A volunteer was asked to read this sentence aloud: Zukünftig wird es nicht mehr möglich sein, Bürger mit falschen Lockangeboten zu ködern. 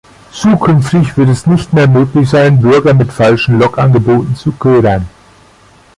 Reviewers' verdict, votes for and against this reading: rejected, 0, 2